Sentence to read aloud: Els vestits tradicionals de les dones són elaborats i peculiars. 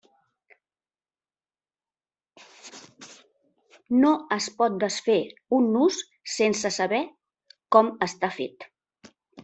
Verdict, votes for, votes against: rejected, 0, 2